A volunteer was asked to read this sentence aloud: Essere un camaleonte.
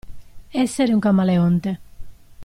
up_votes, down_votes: 2, 0